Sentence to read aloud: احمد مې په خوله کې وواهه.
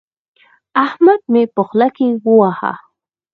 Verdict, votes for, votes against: accepted, 4, 0